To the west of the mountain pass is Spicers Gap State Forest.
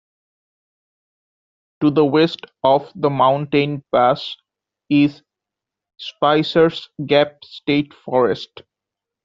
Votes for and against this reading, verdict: 2, 0, accepted